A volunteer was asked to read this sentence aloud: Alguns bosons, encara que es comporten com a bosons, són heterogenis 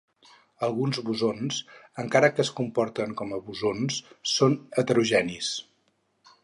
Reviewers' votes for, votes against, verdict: 4, 0, accepted